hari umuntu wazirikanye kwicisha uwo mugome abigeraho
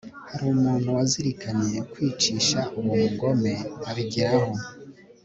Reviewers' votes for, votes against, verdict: 2, 0, accepted